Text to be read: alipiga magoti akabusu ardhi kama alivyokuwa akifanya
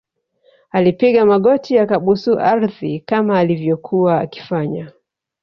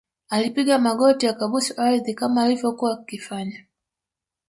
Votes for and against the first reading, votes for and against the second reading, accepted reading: 0, 2, 2, 0, second